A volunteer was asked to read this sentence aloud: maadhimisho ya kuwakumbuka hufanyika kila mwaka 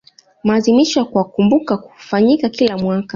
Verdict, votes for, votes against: accepted, 2, 0